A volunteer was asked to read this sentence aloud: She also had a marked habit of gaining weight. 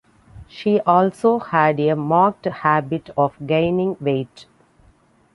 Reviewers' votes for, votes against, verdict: 2, 0, accepted